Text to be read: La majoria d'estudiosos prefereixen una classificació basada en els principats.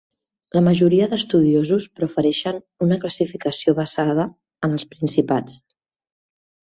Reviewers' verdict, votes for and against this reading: accepted, 3, 1